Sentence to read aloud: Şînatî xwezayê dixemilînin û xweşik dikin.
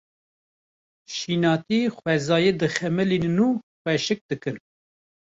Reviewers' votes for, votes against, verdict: 2, 0, accepted